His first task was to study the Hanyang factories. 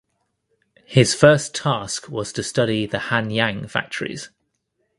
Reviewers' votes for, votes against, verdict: 2, 0, accepted